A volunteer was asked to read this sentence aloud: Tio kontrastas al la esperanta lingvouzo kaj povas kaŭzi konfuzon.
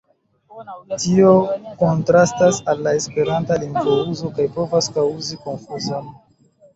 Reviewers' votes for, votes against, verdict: 2, 0, accepted